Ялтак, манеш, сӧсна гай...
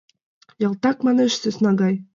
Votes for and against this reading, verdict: 2, 0, accepted